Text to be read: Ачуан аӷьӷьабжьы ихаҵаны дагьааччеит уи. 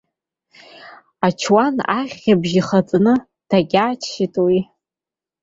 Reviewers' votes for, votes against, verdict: 2, 0, accepted